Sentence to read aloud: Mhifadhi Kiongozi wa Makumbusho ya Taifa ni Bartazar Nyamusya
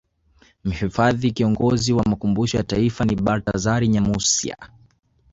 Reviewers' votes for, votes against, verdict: 2, 0, accepted